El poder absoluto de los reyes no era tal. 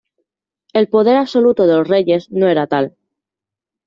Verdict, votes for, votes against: accepted, 2, 0